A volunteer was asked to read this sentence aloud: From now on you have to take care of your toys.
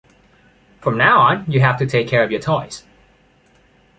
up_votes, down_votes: 2, 0